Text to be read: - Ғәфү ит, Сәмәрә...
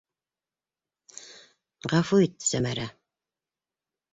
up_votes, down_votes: 2, 0